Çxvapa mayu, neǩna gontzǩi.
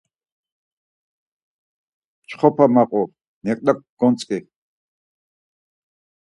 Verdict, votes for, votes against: rejected, 0, 4